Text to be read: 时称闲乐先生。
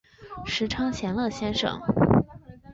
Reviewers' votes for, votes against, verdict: 2, 0, accepted